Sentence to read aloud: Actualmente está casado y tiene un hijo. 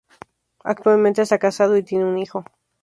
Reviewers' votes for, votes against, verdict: 2, 0, accepted